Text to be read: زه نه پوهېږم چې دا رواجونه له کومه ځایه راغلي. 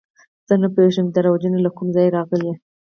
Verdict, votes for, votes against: accepted, 4, 2